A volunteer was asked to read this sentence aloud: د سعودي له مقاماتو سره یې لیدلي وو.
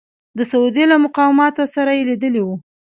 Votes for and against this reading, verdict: 1, 2, rejected